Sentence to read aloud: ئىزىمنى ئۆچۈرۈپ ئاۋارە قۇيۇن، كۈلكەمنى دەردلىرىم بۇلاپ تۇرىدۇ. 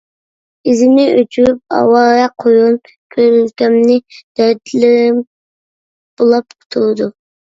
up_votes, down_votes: 0, 2